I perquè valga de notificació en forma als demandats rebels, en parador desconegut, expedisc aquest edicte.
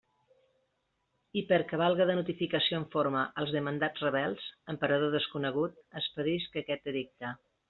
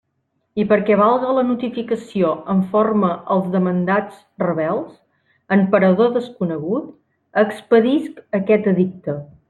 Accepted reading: first